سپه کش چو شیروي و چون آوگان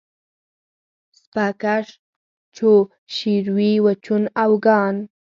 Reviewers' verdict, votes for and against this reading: accepted, 4, 0